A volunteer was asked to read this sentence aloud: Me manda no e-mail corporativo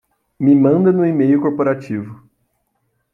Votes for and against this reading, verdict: 2, 0, accepted